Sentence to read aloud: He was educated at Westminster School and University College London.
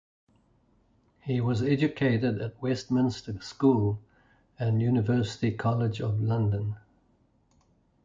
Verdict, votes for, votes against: rejected, 0, 2